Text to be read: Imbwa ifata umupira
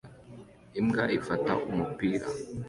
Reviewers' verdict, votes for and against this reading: accepted, 2, 0